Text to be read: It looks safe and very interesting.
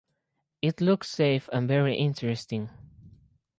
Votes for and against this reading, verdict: 4, 0, accepted